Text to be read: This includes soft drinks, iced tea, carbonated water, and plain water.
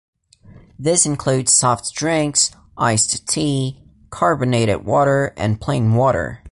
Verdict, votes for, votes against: accepted, 2, 0